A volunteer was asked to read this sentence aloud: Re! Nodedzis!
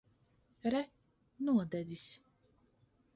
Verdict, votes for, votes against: accepted, 2, 0